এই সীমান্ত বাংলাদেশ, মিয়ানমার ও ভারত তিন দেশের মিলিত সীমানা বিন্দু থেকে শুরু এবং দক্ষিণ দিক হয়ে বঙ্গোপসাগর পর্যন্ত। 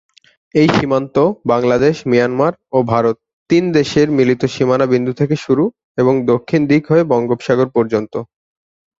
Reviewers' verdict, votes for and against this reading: accepted, 5, 0